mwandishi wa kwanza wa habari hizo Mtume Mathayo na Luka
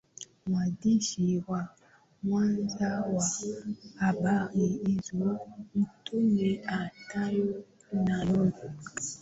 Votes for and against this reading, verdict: 5, 2, accepted